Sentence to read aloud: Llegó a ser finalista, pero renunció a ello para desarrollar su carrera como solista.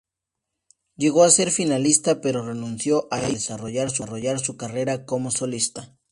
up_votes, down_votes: 2, 2